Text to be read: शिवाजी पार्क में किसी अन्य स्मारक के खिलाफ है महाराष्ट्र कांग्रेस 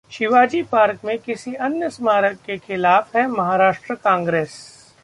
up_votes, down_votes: 2, 0